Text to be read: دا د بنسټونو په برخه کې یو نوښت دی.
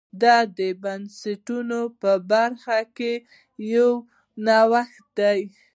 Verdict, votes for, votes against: accepted, 2, 0